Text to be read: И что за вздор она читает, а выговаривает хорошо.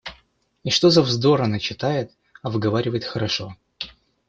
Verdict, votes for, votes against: accepted, 2, 0